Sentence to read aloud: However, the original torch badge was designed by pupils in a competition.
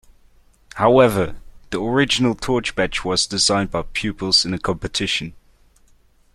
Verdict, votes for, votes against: accepted, 2, 0